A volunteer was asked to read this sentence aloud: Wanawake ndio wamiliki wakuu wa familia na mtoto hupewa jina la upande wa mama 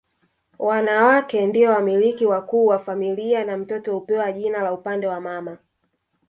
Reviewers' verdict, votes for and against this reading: accepted, 2, 0